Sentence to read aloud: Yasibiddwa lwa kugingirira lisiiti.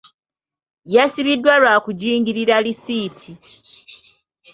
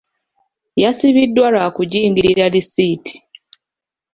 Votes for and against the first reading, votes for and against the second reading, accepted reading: 2, 0, 1, 2, first